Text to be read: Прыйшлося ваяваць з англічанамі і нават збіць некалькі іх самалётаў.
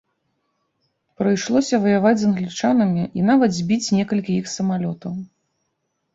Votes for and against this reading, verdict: 3, 0, accepted